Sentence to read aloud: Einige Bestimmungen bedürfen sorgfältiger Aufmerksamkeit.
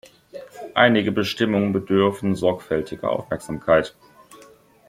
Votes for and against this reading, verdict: 2, 0, accepted